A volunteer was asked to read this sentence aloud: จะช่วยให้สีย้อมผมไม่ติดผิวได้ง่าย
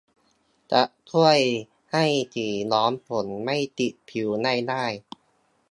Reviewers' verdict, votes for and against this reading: rejected, 1, 2